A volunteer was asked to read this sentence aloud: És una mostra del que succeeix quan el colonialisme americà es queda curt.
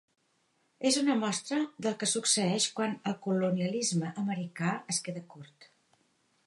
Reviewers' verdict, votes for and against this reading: accepted, 4, 0